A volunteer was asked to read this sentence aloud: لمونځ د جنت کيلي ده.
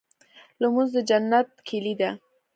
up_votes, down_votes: 2, 0